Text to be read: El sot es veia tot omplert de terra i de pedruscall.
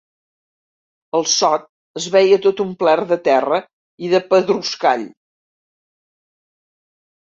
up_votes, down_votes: 4, 0